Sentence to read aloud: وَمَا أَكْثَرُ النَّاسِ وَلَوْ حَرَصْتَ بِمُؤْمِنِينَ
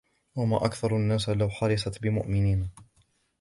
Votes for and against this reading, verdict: 0, 2, rejected